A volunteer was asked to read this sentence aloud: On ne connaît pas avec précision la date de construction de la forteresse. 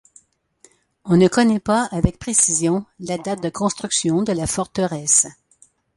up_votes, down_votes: 2, 0